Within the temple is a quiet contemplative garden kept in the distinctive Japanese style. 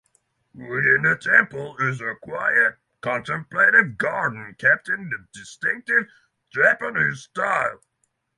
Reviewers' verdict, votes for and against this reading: rejected, 3, 3